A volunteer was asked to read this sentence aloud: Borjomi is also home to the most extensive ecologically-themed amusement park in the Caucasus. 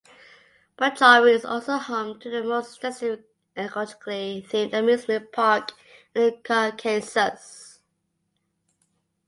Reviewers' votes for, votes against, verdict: 2, 0, accepted